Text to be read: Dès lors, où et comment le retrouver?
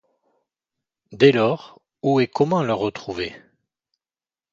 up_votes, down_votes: 4, 0